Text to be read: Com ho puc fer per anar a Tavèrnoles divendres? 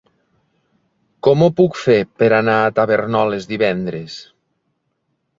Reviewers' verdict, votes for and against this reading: rejected, 0, 2